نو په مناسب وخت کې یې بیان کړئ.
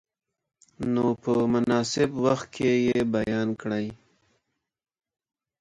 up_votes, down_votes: 3, 0